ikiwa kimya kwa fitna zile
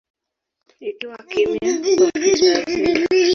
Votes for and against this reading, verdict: 1, 2, rejected